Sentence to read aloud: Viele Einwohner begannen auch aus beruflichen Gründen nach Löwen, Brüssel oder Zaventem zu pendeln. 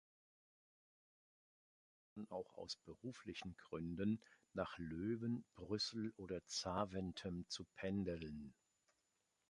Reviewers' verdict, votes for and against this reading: rejected, 1, 2